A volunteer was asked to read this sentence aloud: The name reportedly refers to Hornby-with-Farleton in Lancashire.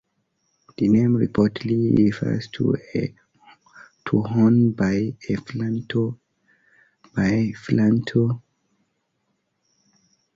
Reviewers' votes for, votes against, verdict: 0, 2, rejected